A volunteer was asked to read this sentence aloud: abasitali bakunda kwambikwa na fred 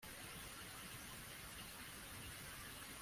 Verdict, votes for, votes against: rejected, 0, 2